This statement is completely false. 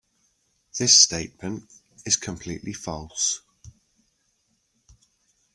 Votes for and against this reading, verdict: 2, 0, accepted